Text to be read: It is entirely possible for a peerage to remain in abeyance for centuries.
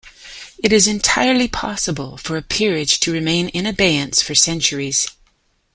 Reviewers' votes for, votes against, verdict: 2, 0, accepted